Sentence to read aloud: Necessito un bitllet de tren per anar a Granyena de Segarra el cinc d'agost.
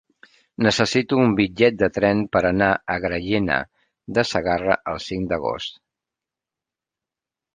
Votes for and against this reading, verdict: 1, 2, rejected